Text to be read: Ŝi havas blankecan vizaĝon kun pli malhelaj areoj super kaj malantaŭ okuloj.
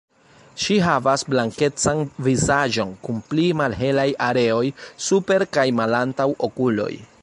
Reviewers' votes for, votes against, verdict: 2, 0, accepted